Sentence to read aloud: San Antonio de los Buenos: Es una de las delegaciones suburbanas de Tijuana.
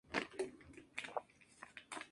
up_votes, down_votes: 2, 0